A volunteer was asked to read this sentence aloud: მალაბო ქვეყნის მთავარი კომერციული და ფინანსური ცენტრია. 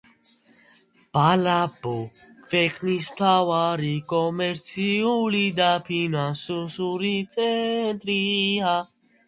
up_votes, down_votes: 0, 2